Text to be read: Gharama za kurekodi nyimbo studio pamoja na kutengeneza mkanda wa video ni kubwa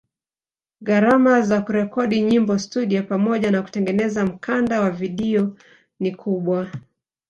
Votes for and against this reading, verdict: 1, 2, rejected